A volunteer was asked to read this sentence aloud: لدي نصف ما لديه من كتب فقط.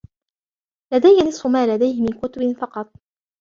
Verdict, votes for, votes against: rejected, 1, 2